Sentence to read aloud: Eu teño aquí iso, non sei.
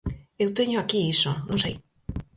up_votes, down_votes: 4, 0